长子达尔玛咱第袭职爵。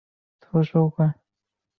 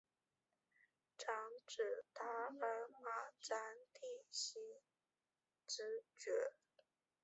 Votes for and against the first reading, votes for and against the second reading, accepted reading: 0, 2, 2, 1, second